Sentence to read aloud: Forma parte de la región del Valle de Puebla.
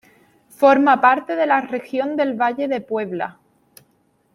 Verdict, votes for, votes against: accepted, 2, 0